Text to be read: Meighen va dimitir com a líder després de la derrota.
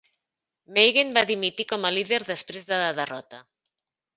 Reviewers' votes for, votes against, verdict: 0, 2, rejected